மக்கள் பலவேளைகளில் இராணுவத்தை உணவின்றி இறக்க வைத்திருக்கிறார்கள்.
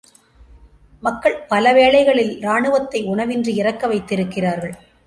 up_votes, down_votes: 2, 0